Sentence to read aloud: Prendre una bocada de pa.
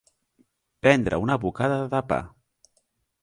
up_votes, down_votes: 0, 2